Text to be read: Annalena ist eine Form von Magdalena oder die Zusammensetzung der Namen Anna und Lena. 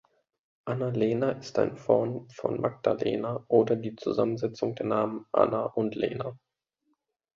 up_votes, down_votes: 1, 2